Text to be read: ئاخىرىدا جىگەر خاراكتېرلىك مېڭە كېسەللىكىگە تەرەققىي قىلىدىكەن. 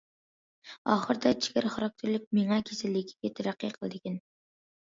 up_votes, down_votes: 1, 2